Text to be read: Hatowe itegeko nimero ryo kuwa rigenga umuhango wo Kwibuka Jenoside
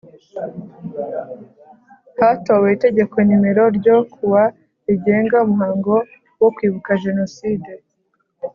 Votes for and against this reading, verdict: 2, 0, accepted